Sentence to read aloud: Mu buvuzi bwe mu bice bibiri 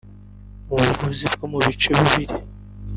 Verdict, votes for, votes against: rejected, 1, 2